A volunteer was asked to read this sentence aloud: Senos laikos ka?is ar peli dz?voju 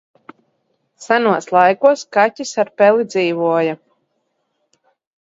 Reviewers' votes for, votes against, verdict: 0, 2, rejected